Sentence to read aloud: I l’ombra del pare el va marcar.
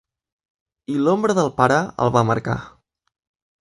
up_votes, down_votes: 3, 0